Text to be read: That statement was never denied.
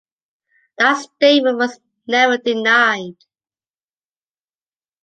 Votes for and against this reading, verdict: 2, 0, accepted